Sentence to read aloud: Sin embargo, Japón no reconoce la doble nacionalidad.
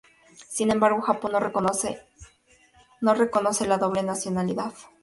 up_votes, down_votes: 0, 2